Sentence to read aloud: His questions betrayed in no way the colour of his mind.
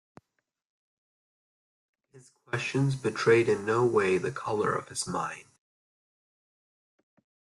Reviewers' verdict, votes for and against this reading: rejected, 1, 2